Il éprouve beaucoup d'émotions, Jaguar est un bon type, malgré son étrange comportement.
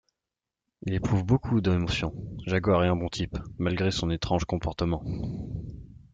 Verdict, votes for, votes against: rejected, 0, 2